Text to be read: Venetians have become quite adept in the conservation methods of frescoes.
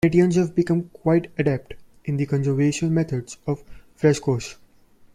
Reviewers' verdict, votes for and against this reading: rejected, 1, 2